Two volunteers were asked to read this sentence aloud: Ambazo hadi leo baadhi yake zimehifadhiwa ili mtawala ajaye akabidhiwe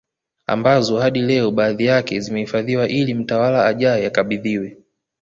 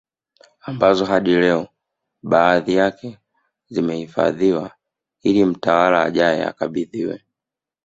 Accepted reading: first